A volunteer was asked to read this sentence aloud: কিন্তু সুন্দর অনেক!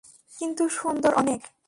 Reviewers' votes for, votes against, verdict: 2, 0, accepted